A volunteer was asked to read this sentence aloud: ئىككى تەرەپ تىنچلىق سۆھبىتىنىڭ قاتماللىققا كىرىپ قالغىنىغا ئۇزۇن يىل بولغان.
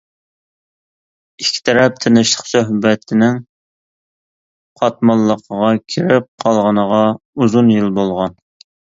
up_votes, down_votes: 0, 2